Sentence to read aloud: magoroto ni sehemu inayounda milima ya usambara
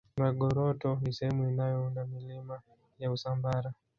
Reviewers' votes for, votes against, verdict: 1, 2, rejected